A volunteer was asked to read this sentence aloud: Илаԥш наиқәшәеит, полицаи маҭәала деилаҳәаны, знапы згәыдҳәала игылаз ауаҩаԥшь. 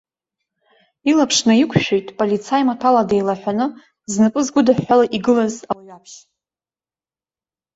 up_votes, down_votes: 1, 2